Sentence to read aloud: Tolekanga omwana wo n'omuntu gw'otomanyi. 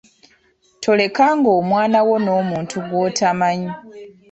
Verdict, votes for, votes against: rejected, 1, 2